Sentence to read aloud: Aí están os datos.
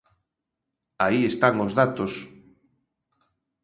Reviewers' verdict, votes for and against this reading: accepted, 2, 0